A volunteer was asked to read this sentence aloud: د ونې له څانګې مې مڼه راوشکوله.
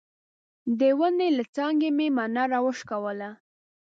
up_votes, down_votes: 1, 2